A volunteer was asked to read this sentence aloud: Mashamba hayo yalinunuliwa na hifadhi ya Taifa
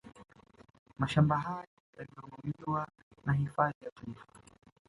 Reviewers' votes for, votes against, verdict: 1, 2, rejected